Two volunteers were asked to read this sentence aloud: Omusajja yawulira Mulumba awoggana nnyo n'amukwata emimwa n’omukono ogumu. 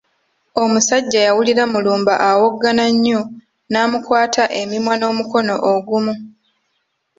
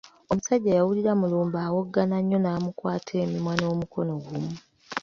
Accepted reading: first